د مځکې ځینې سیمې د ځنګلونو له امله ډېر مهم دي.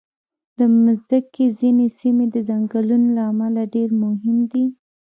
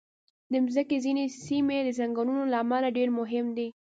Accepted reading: second